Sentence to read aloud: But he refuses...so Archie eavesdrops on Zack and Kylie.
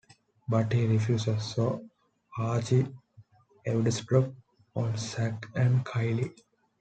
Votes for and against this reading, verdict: 2, 1, accepted